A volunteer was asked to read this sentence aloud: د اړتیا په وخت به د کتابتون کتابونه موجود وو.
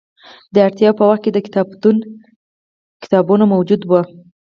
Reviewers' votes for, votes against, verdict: 4, 0, accepted